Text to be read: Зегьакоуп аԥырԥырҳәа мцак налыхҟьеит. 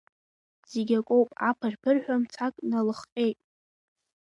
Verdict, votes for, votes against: rejected, 1, 2